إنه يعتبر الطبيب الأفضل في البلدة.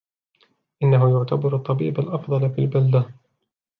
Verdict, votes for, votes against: accepted, 2, 0